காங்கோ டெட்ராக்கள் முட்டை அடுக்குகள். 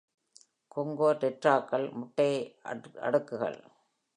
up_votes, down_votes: 0, 2